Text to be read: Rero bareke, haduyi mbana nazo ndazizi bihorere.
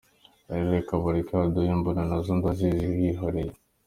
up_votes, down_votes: 1, 2